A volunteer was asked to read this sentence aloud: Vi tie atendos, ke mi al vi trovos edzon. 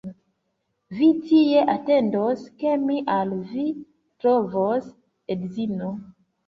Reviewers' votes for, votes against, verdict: 0, 2, rejected